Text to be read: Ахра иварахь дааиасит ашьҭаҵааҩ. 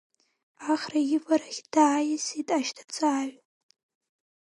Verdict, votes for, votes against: rejected, 3, 4